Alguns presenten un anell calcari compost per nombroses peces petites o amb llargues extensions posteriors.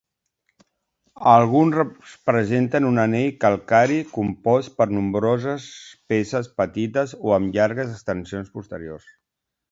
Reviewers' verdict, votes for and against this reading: rejected, 1, 2